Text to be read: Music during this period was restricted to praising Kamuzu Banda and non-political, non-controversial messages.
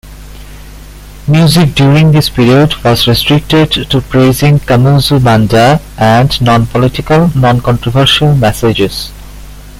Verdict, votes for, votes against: accepted, 2, 0